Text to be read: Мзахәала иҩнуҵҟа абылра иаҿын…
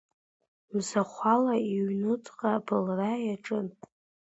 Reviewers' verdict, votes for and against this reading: rejected, 0, 2